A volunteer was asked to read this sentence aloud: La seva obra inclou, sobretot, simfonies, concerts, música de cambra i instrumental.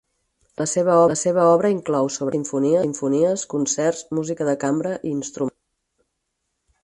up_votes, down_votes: 4, 0